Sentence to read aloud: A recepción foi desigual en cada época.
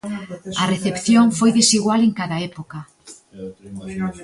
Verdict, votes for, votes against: accepted, 2, 0